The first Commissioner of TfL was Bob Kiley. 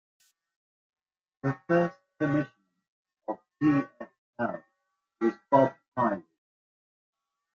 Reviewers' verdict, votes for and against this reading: rejected, 0, 2